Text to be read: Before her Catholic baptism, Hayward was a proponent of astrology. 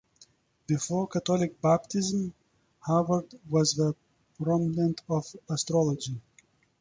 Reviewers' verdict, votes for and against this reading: rejected, 1, 2